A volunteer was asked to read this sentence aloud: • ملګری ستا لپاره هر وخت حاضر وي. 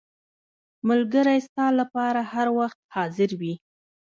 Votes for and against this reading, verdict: 1, 2, rejected